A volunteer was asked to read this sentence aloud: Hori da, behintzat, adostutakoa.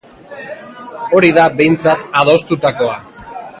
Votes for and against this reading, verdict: 2, 0, accepted